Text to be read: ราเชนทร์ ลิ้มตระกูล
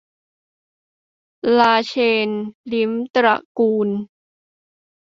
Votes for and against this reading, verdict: 2, 1, accepted